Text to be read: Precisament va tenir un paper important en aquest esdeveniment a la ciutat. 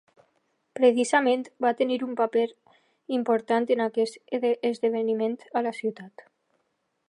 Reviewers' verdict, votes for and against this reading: rejected, 3, 3